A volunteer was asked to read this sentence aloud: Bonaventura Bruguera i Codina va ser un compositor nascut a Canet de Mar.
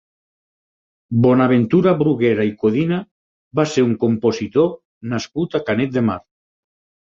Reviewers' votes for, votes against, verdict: 6, 0, accepted